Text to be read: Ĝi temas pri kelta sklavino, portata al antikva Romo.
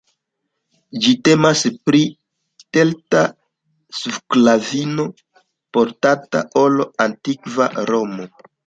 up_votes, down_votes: 2, 1